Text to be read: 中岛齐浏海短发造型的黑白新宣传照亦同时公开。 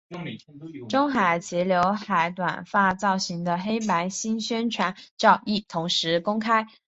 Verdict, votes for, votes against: rejected, 3, 3